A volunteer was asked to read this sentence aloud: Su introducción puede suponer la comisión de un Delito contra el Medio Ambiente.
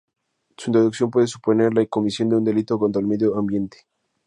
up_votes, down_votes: 2, 0